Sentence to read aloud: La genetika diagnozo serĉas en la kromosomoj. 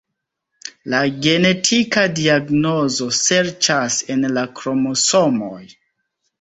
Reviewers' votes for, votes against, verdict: 1, 2, rejected